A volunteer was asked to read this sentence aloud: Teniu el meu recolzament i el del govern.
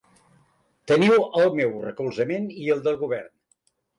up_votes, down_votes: 3, 0